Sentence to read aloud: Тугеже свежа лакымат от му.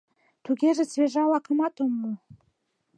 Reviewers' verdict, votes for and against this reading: rejected, 1, 2